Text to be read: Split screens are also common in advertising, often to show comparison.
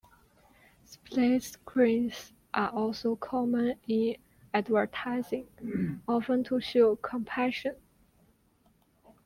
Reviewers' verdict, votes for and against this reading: rejected, 1, 2